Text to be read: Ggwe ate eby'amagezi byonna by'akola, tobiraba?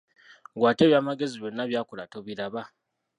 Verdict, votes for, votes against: rejected, 1, 2